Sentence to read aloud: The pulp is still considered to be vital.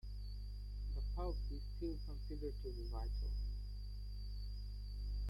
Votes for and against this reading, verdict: 1, 2, rejected